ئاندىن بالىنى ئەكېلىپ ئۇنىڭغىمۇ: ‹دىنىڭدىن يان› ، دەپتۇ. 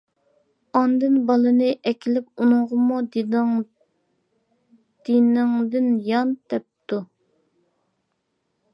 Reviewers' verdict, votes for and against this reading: rejected, 0, 2